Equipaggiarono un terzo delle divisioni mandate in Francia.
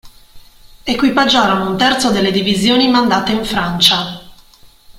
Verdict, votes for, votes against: accepted, 2, 0